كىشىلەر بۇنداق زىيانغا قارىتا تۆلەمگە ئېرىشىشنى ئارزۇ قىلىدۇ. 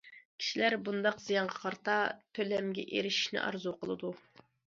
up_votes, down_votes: 2, 0